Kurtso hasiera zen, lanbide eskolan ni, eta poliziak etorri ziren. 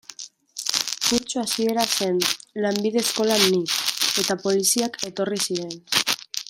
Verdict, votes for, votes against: rejected, 1, 2